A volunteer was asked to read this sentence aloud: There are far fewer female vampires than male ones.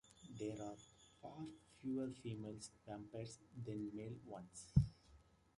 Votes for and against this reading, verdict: 0, 2, rejected